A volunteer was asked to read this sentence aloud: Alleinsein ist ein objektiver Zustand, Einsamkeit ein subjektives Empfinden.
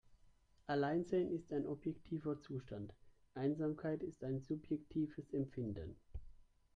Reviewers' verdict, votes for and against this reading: rejected, 1, 2